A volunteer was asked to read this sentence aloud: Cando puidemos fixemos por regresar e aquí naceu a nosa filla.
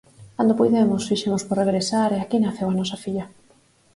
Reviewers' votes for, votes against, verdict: 4, 0, accepted